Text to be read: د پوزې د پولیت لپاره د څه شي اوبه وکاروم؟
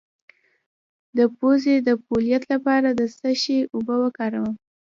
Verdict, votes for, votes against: accepted, 2, 0